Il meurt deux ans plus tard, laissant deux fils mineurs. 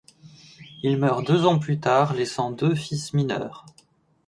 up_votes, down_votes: 2, 1